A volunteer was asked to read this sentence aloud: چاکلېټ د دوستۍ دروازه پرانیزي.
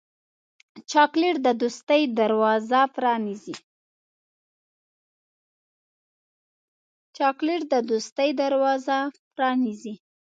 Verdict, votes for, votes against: rejected, 0, 3